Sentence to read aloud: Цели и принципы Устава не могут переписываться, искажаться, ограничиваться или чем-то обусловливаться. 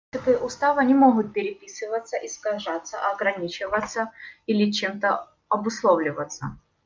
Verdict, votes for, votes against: rejected, 1, 2